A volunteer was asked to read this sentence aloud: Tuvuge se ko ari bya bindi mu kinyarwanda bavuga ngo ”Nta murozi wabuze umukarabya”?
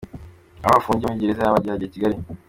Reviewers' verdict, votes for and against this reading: rejected, 0, 3